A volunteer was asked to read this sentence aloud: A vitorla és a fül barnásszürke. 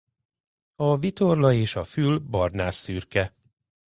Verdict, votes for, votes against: accepted, 2, 0